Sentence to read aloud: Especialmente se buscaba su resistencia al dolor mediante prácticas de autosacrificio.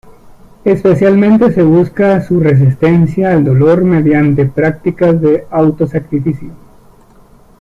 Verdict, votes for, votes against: rejected, 0, 2